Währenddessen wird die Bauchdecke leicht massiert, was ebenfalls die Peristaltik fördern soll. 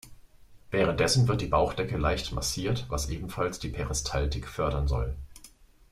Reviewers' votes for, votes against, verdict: 2, 0, accepted